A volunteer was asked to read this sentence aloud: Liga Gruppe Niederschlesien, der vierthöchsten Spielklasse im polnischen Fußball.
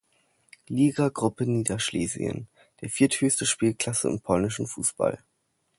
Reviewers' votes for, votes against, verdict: 1, 2, rejected